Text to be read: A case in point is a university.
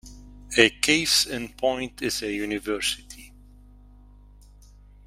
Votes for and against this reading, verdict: 2, 0, accepted